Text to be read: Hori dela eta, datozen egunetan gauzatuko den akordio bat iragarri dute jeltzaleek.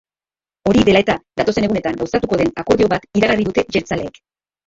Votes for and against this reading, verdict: 1, 3, rejected